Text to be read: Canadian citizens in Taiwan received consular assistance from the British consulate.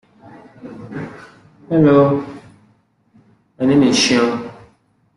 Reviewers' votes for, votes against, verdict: 0, 2, rejected